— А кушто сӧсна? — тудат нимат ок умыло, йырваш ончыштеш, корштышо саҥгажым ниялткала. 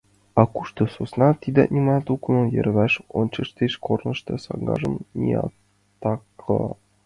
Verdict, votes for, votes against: rejected, 0, 2